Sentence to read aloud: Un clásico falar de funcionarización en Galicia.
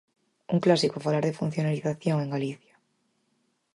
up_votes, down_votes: 4, 0